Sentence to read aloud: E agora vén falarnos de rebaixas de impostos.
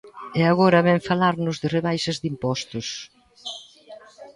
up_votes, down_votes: 2, 0